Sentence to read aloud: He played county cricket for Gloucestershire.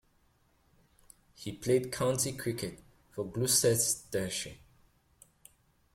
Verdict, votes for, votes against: rejected, 0, 2